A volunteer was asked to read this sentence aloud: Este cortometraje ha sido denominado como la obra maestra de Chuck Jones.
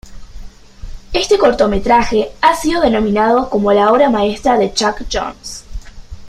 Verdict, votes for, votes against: accepted, 2, 0